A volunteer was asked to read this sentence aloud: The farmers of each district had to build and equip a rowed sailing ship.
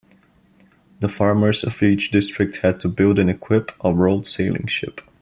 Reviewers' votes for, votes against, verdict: 2, 0, accepted